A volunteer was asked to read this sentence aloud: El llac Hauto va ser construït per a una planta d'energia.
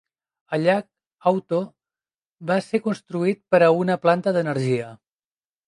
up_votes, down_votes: 2, 0